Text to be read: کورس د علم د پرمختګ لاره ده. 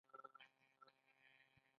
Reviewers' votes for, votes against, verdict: 1, 2, rejected